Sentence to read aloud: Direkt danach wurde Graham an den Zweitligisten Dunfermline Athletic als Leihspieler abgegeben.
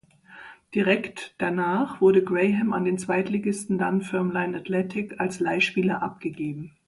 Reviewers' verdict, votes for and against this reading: accepted, 2, 0